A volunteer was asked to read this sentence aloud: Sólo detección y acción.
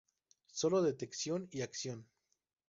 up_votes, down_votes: 0, 2